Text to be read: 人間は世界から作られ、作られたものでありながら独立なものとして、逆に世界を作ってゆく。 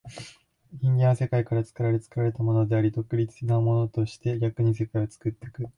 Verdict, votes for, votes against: accepted, 7, 1